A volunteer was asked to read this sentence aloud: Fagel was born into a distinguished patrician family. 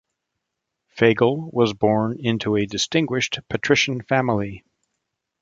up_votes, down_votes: 2, 0